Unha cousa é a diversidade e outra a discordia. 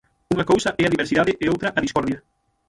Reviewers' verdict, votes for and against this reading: rejected, 0, 6